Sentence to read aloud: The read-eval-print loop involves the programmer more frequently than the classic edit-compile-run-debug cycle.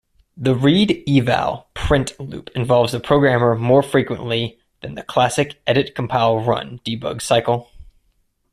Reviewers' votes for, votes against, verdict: 2, 0, accepted